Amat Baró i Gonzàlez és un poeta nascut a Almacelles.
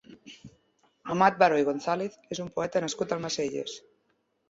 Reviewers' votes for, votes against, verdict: 3, 0, accepted